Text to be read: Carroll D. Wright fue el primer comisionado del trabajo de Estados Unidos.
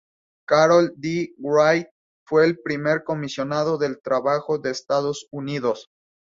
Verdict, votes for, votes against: accepted, 6, 0